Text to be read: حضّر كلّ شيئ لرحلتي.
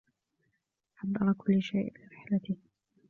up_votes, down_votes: 1, 2